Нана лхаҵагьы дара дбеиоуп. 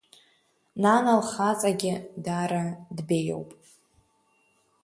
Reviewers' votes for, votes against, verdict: 2, 1, accepted